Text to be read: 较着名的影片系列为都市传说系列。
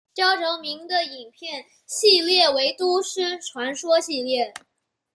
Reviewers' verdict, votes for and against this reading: accepted, 2, 0